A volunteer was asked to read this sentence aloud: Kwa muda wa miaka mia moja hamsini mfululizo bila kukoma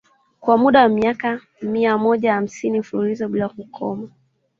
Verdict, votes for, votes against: accepted, 2, 0